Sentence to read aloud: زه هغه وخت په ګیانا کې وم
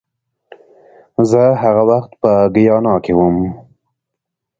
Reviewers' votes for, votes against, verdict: 3, 0, accepted